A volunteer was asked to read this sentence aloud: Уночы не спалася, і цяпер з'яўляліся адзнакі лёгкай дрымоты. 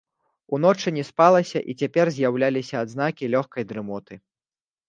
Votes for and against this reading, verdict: 2, 0, accepted